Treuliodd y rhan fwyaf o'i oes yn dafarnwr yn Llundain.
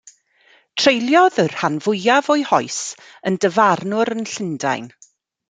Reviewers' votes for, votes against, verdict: 0, 2, rejected